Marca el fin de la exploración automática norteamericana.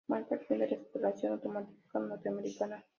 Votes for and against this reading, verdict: 0, 2, rejected